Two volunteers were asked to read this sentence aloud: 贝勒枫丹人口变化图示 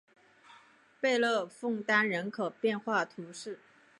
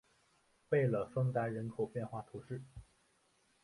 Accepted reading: first